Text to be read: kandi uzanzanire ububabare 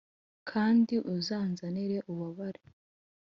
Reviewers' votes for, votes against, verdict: 2, 0, accepted